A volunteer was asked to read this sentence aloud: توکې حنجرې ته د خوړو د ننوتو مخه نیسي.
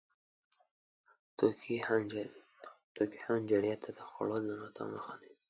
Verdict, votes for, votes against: rejected, 0, 2